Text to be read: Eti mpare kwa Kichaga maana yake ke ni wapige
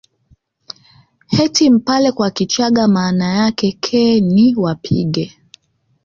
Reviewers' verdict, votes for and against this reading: accepted, 2, 0